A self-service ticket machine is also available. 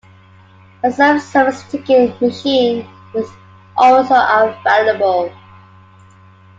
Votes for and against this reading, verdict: 2, 1, accepted